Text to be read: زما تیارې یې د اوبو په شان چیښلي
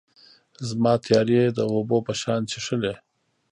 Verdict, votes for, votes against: rejected, 1, 2